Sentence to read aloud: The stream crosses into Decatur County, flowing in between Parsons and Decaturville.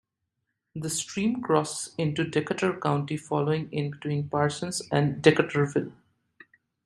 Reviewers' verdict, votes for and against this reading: rejected, 1, 2